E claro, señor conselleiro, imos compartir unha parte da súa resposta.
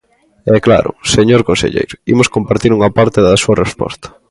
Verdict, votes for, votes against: accepted, 2, 0